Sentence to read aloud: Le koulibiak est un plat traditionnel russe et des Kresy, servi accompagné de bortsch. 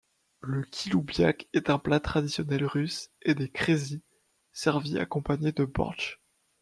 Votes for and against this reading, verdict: 0, 2, rejected